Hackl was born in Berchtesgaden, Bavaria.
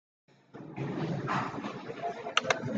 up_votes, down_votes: 0, 2